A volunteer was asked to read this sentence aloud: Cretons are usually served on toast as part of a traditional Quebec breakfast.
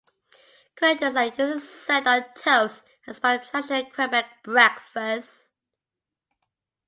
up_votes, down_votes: 0, 2